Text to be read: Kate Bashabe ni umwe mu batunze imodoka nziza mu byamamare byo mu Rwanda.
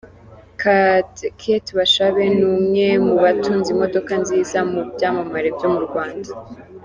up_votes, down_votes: 2, 3